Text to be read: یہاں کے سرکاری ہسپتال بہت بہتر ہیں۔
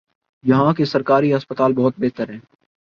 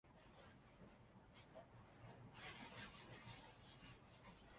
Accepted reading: first